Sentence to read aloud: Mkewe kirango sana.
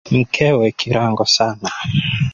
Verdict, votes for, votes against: accepted, 3, 1